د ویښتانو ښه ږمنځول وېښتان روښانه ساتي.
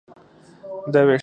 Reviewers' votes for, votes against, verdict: 0, 4, rejected